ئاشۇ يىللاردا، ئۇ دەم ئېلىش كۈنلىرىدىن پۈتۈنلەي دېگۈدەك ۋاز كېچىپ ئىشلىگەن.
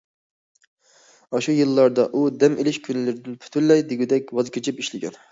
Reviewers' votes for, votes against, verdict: 2, 0, accepted